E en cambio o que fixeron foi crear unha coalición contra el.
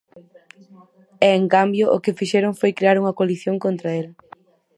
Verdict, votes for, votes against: rejected, 2, 2